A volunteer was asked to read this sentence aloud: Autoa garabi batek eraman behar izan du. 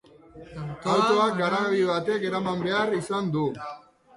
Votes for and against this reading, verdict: 1, 2, rejected